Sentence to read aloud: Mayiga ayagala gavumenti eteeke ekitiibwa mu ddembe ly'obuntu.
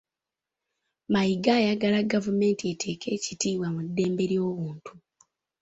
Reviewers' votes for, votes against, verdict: 2, 0, accepted